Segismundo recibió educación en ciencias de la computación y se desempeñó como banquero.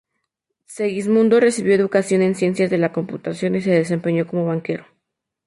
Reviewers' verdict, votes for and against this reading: accepted, 2, 0